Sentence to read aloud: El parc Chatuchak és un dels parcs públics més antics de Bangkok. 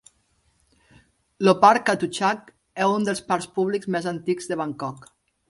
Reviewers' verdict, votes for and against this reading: rejected, 0, 2